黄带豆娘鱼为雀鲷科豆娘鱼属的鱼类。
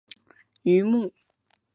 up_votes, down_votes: 0, 2